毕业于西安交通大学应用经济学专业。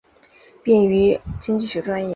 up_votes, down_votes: 1, 2